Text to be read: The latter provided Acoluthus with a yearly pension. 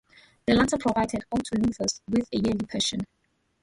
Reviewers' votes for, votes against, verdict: 0, 2, rejected